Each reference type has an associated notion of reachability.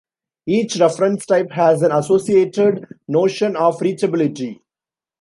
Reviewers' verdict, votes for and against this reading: accepted, 3, 0